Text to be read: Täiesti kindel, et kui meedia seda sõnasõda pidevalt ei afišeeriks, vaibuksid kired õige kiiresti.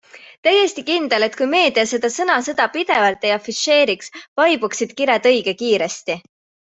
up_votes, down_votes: 3, 0